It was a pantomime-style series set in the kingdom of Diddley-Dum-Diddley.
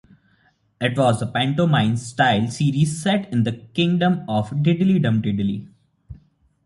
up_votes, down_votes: 3, 0